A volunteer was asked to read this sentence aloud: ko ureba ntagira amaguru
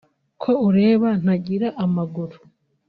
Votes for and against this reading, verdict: 2, 0, accepted